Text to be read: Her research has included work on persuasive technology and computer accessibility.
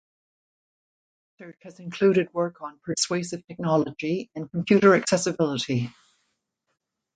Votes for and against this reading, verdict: 1, 2, rejected